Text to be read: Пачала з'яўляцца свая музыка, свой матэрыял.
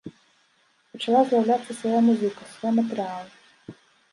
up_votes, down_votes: 2, 0